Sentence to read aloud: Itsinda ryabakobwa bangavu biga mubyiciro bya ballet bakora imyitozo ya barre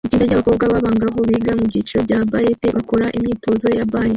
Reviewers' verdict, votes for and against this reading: rejected, 1, 2